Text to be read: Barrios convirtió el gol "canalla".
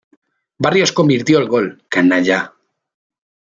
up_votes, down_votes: 3, 0